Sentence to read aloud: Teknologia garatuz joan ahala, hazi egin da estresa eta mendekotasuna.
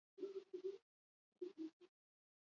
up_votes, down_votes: 0, 4